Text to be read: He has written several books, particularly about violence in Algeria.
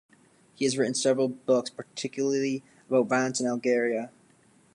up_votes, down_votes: 0, 2